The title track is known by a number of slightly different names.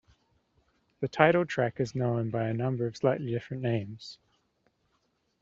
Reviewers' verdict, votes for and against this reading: accepted, 2, 1